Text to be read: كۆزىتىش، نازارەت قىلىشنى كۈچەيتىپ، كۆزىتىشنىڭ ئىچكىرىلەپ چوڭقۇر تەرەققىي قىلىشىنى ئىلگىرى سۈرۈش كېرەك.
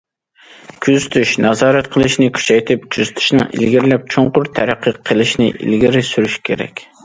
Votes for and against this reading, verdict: 0, 2, rejected